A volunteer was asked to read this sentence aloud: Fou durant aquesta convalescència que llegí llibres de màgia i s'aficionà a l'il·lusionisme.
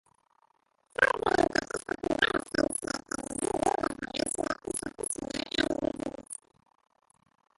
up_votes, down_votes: 0, 2